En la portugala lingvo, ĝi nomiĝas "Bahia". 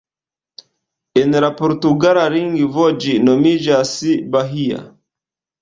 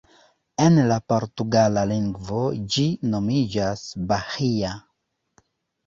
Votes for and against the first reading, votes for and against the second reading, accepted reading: 0, 2, 2, 1, second